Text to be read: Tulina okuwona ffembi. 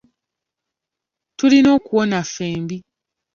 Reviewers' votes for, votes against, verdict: 2, 0, accepted